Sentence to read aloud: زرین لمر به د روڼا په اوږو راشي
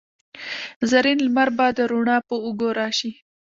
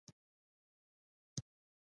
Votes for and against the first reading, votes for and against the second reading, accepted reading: 2, 1, 1, 2, first